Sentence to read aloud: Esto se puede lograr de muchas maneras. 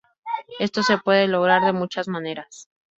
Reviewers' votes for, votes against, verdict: 2, 2, rejected